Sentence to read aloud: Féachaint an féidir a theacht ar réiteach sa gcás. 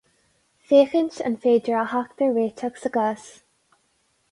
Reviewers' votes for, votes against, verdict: 2, 2, rejected